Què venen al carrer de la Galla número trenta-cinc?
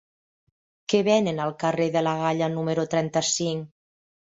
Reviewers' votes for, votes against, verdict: 3, 0, accepted